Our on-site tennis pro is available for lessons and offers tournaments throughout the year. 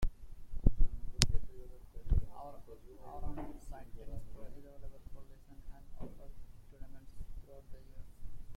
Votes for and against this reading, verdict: 0, 2, rejected